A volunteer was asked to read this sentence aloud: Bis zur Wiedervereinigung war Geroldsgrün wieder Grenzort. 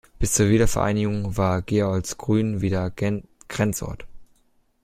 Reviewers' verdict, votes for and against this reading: rejected, 1, 2